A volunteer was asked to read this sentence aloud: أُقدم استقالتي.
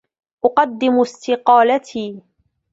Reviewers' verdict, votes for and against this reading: accepted, 2, 0